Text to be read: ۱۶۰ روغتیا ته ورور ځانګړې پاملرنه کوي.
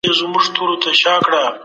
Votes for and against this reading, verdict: 0, 2, rejected